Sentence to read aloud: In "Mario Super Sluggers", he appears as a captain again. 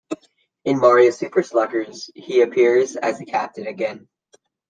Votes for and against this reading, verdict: 2, 0, accepted